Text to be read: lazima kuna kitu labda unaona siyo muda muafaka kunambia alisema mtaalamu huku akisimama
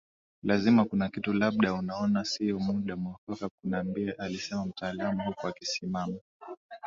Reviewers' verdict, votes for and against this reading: accepted, 2, 1